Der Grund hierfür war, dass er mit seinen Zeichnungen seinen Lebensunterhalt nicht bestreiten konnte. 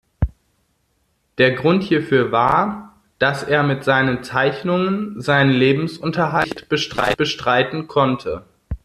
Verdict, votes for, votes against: rejected, 0, 2